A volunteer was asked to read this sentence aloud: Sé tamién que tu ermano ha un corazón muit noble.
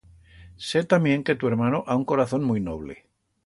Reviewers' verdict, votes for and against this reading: accepted, 2, 0